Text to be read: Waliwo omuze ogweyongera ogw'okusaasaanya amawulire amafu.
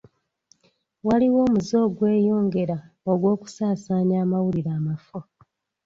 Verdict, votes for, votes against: accepted, 2, 0